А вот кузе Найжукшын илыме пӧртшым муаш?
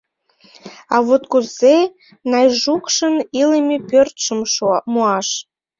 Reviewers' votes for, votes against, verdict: 1, 2, rejected